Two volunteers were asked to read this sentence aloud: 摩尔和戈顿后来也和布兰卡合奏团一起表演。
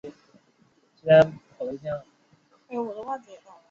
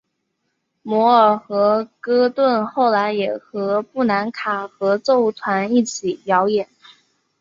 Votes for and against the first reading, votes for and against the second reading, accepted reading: 4, 5, 2, 0, second